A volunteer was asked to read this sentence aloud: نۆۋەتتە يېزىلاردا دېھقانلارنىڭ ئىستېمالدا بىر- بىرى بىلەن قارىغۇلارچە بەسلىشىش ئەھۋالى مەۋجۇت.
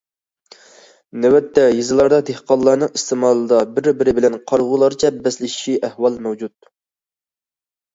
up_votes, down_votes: 0, 2